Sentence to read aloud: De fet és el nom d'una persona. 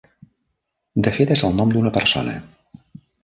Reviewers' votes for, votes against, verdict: 3, 0, accepted